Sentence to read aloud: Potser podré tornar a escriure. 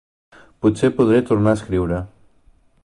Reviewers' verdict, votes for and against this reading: accepted, 3, 0